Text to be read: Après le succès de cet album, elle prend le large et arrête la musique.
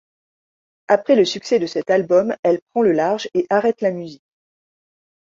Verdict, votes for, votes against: rejected, 0, 2